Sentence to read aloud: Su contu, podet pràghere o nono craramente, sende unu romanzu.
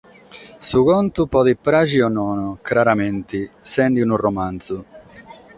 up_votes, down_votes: 6, 0